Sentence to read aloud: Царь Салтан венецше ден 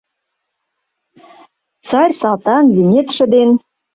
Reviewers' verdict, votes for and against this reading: rejected, 1, 2